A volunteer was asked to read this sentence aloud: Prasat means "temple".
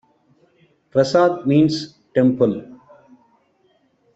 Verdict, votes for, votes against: accepted, 2, 1